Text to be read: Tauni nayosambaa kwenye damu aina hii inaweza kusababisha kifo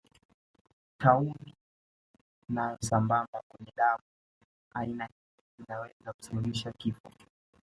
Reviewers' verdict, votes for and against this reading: rejected, 0, 2